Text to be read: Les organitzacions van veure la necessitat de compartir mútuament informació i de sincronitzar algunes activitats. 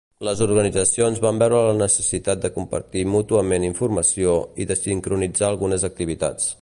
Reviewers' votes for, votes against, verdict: 3, 0, accepted